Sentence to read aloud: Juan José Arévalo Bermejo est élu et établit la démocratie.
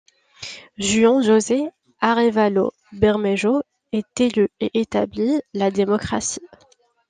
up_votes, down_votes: 2, 0